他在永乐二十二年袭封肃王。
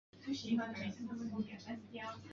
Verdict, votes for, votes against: rejected, 0, 4